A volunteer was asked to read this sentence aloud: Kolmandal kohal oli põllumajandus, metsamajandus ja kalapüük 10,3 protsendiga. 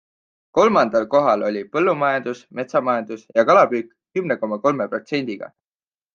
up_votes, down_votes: 0, 2